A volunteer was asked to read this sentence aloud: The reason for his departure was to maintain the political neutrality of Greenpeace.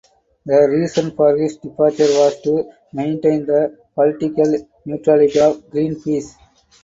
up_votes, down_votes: 4, 0